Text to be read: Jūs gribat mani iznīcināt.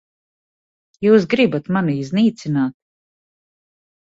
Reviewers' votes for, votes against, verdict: 0, 2, rejected